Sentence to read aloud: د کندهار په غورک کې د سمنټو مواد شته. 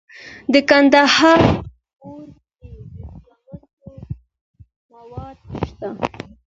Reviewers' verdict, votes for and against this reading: rejected, 1, 2